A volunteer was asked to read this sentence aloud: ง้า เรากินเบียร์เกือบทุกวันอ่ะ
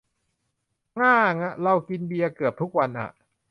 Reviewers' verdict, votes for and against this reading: rejected, 0, 2